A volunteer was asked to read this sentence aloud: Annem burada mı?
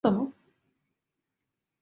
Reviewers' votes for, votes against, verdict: 0, 2, rejected